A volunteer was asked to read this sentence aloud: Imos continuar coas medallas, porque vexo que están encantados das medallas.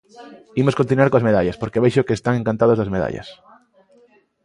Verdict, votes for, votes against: accepted, 2, 1